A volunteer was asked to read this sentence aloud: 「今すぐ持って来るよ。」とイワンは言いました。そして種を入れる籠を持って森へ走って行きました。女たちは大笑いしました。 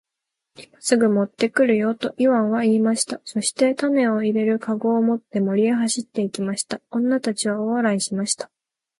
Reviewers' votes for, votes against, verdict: 3, 3, rejected